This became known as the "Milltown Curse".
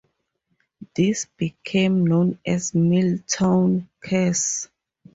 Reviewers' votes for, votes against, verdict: 2, 2, rejected